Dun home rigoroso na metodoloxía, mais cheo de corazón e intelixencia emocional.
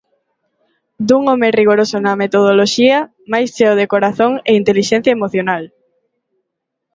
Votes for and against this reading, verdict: 2, 0, accepted